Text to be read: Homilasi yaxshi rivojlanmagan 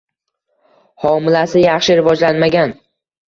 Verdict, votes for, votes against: accepted, 2, 0